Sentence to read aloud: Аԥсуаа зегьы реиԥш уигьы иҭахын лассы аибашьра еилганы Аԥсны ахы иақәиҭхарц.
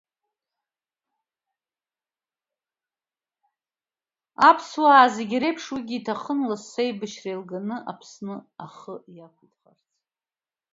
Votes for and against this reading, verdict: 2, 1, accepted